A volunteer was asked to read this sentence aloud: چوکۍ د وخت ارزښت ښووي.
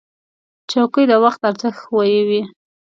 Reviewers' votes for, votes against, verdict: 2, 0, accepted